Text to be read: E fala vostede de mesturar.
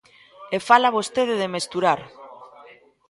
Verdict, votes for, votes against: rejected, 1, 2